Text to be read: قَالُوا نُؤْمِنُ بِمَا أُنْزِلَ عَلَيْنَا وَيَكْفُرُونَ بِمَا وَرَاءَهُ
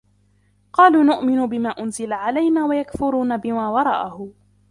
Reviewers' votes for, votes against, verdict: 1, 2, rejected